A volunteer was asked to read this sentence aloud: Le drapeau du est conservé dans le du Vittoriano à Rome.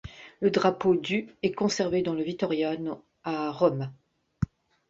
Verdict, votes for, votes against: rejected, 0, 2